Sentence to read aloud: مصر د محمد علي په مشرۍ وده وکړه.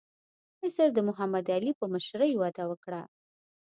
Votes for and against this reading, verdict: 2, 0, accepted